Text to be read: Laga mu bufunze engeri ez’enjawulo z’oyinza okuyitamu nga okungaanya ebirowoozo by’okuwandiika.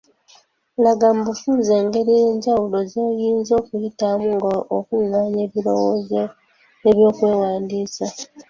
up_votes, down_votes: 2, 1